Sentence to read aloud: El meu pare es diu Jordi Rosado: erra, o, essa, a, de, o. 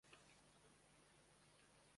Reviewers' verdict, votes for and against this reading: rejected, 0, 2